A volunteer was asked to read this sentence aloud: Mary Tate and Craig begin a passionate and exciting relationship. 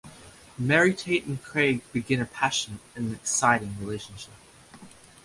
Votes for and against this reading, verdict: 1, 2, rejected